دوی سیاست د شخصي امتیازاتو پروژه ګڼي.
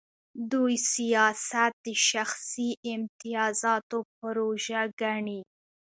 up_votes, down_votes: 2, 0